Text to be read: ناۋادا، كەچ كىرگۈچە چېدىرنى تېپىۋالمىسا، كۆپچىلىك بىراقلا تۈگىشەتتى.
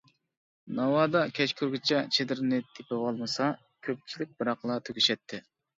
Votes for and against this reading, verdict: 2, 1, accepted